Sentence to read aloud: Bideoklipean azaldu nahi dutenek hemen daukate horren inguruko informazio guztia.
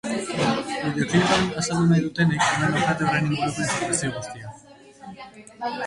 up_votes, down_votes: 0, 3